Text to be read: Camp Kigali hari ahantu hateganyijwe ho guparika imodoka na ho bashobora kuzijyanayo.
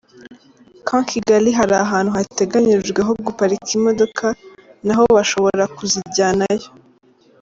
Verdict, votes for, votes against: accepted, 2, 0